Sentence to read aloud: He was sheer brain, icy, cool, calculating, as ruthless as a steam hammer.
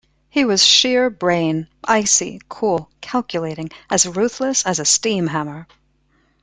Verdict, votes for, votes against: accepted, 2, 0